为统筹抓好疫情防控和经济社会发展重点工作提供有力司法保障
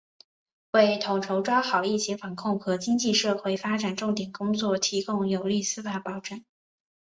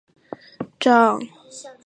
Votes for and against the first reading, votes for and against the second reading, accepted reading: 2, 1, 1, 4, first